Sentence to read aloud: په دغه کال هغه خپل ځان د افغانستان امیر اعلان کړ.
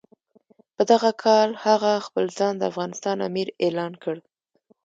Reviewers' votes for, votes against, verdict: 1, 2, rejected